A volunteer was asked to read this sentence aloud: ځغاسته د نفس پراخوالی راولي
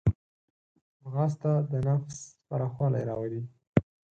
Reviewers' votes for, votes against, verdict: 4, 0, accepted